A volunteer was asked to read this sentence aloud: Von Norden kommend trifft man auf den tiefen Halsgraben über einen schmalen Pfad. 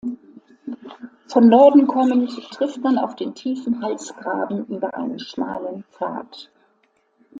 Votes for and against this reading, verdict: 2, 0, accepted